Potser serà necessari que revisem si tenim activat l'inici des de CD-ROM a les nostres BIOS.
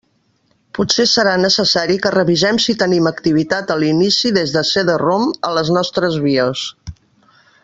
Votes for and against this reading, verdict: 1, 2, rejected